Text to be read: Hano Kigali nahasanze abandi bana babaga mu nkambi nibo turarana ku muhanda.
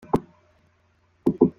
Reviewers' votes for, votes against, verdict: 0, 2, rejected